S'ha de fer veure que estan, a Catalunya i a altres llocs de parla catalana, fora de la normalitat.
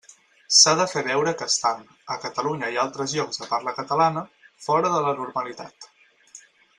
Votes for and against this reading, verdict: 4, 0, accepted